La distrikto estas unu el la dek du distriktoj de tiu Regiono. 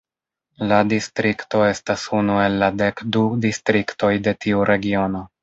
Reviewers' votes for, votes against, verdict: 1, 2, rejected